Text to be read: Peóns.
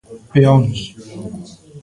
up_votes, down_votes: 1, 2